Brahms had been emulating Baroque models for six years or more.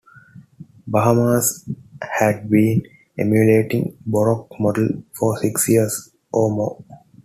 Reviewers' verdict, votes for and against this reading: rejected, 0, 2